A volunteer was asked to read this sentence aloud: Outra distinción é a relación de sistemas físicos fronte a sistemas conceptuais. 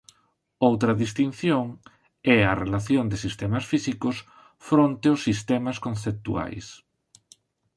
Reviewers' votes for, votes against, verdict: 0, 2, rejected